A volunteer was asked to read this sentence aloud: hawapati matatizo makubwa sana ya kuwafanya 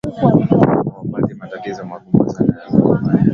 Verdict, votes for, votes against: rejected, 1, 2